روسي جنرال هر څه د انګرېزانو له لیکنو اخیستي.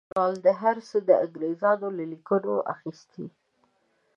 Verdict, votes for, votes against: rejected, 1, 2